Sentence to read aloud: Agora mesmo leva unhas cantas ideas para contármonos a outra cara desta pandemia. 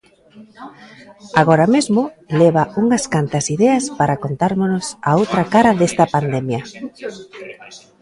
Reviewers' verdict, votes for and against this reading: rejected, 0, 2